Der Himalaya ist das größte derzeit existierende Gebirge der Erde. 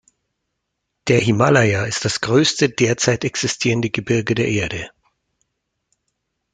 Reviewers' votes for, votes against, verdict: 2, 0, accepted